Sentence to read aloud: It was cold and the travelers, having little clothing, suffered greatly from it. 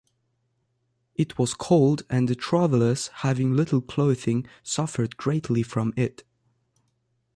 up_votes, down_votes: 2, 0